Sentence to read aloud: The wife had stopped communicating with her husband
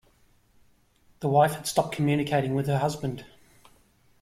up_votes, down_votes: 2, 0